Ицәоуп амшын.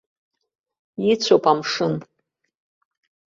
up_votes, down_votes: 2, 0